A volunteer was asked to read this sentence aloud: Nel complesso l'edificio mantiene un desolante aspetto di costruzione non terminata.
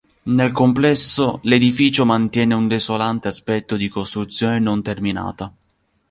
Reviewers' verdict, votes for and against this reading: accepted, 2, 0